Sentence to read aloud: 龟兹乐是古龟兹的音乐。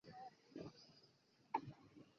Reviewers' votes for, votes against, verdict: 0, 2, rejected